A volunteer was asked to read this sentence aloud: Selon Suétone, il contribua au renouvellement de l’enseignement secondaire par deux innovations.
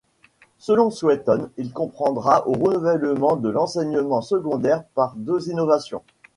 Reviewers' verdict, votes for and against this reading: rejected, 1, 2